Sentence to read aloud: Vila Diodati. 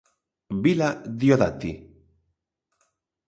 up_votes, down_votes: 2, 0